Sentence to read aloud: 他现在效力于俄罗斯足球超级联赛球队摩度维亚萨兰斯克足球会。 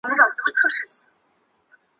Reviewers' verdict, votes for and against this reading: rejected, 2, 5